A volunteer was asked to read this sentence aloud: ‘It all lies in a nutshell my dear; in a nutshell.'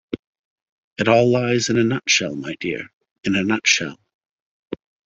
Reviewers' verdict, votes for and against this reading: accepted, 2, 0